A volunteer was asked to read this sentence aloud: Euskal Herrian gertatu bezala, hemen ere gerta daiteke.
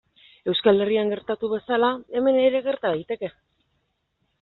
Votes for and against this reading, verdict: 2, 0, accepted